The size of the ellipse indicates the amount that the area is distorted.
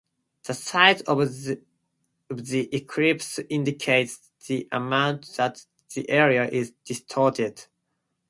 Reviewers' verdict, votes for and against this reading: accepted, 2, 0